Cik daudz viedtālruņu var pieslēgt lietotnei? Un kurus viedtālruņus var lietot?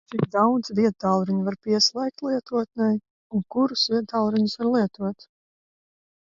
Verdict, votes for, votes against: rejected, 2, 4